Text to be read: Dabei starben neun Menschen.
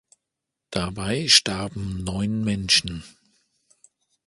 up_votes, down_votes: 2, 0